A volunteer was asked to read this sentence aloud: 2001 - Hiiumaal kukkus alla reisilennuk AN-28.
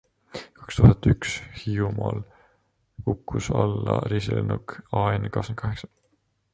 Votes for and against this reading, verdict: 0, 2, rejected